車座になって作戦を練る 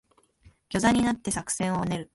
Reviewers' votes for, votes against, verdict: 0, 2, rejected